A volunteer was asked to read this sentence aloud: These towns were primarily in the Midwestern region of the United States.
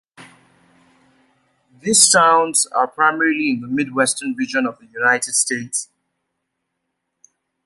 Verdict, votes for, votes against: rejected, 0, 2